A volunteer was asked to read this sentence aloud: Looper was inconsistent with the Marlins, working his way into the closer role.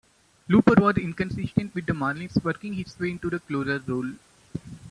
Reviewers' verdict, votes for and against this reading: rejected, 0, 2